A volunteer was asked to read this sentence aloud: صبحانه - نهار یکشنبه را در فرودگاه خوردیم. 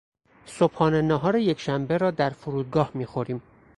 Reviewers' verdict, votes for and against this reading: rejected, 0, 4